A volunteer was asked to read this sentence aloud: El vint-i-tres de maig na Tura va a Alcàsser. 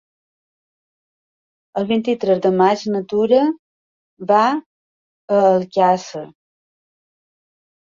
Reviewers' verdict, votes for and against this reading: accepted, 2, 1